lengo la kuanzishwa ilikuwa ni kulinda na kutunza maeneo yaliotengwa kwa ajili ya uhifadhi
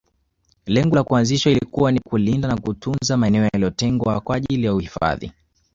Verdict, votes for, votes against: accepted, 2, 1